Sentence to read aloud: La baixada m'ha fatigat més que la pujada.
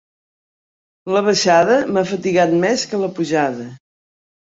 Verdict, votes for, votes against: accepted, 3, 0